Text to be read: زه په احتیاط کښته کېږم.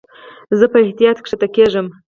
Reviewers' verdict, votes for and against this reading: accepted, 4, 0